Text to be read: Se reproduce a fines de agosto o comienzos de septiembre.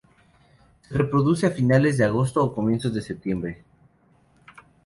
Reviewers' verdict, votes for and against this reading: rejected, 0, 2